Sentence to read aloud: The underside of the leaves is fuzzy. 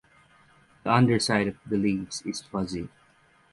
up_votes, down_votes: 6, 0